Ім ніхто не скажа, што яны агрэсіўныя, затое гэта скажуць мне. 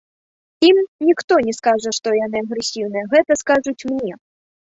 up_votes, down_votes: 1, 2